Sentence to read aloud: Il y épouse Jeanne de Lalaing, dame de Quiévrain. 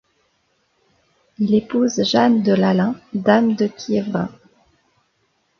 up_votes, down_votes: 0, 2